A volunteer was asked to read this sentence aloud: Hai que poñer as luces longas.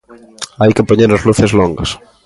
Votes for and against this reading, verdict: 2, 0, accepted